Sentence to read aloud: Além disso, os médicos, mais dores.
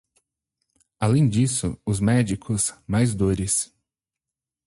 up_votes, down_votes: 4, 0